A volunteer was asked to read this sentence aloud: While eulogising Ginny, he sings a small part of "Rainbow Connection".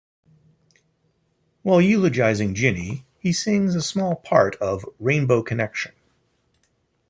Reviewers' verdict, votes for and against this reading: accepted, 2, 0